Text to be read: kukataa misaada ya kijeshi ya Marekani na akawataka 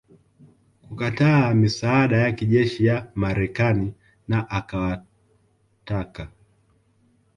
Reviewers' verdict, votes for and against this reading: accepted, 3, 1